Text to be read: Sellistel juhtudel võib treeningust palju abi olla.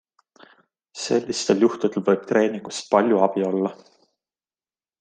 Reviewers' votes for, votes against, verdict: 2, 0, accepted